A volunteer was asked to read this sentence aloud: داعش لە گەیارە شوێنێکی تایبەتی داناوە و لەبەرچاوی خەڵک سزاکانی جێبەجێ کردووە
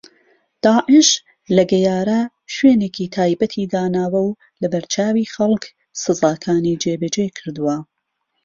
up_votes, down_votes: 2, 0